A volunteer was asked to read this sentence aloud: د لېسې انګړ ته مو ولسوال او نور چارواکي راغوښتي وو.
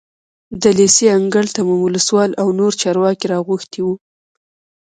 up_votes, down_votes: 2, 1